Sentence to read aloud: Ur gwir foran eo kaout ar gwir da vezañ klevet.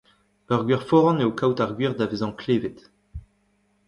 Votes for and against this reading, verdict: 1, 2, rejected